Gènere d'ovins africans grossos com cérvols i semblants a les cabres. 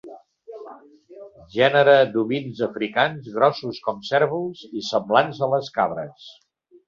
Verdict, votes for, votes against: accepted, 3, 1